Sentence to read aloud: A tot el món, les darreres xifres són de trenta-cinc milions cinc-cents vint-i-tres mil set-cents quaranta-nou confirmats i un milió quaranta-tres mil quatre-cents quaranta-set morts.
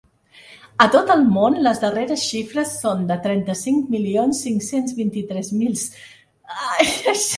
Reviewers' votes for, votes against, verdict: 0, 2, rejected